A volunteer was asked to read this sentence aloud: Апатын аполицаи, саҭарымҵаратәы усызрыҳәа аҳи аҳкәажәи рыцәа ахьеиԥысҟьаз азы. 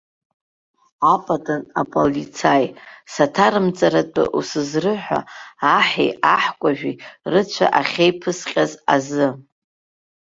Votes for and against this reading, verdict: 0, 2, rejected